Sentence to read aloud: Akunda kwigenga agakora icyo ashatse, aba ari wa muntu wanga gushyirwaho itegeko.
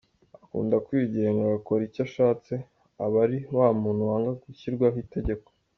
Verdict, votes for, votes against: accepted, 2, 0